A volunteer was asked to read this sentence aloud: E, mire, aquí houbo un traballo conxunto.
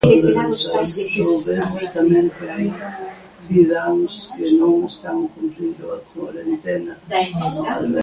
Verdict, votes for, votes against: rejected, 0, 2